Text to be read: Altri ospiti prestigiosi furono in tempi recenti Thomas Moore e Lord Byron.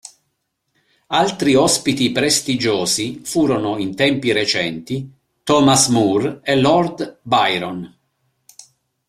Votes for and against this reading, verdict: 2, 0, accepted